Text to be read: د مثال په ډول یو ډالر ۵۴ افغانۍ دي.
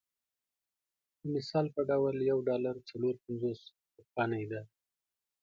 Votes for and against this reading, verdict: 0, 2, rejected